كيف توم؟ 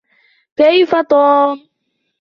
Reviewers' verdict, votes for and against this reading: accepted, 2, 0